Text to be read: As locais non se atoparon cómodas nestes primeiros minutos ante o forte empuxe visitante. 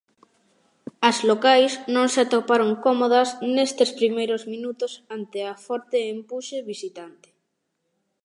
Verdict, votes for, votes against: rejected, 0, 2